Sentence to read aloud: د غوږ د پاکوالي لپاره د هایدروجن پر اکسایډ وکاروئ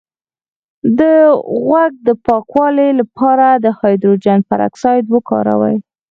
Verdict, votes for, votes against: rejected, 2, 4